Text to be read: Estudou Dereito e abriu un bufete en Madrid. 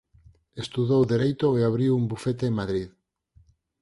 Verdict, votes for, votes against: accepted, 6, 0